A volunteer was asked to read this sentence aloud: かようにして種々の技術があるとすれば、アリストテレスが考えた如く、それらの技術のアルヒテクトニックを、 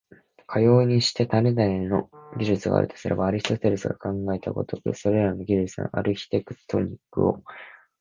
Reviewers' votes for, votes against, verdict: 1, 2, rejected